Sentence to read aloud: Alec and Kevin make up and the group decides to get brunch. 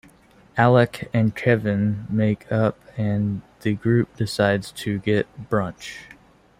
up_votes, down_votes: 2, 0